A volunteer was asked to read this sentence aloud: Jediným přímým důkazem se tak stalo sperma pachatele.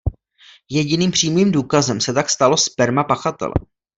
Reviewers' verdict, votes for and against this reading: accepted, 2, 0